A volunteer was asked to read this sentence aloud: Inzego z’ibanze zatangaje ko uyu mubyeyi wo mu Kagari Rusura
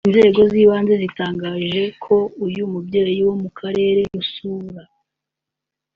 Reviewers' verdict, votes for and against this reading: accepted, 2, 1